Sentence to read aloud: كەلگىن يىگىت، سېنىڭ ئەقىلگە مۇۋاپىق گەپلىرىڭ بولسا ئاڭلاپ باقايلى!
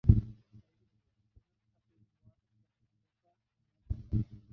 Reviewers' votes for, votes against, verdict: 0, 2, rejected